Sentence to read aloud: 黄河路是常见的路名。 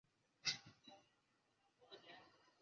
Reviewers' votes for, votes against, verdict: 3, 7, rejected